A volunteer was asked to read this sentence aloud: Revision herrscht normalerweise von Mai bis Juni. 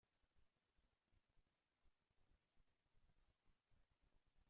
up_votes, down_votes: 0, 2